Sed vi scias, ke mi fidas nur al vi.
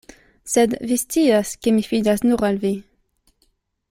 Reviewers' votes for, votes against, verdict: 2, 0, accepted